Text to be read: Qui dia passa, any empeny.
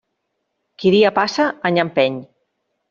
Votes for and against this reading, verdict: 3, 0, accepted